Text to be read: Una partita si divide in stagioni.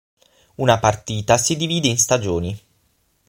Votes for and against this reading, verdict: 6, 0, accepted